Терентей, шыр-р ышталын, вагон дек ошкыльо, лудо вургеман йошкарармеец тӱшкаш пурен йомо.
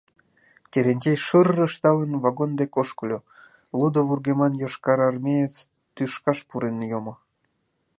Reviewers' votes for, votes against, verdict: 2, 0, accepted